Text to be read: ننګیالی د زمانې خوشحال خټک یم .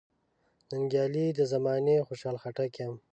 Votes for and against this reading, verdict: 2, 1, accepted